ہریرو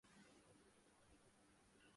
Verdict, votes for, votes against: rejected, 2, 4